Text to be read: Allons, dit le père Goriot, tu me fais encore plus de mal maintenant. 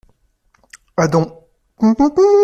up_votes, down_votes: 0, 2